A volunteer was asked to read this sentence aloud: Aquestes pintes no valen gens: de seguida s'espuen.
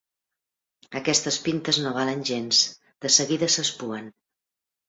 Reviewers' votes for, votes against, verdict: 3, 0, accepted